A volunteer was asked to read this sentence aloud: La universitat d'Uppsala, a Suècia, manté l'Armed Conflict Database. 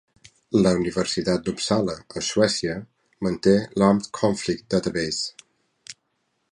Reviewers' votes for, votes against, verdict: 3, 0, accepted